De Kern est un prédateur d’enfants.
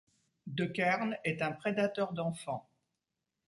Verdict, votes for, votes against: accepted, 2, 0